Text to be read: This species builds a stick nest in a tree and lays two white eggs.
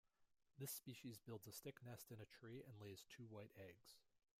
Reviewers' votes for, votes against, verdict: 0, 2, rejected